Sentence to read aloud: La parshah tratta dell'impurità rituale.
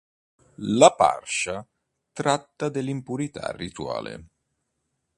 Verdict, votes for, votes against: accepted, 2, 0